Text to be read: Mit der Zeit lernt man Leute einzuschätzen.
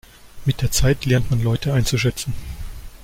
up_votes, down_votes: 1, 2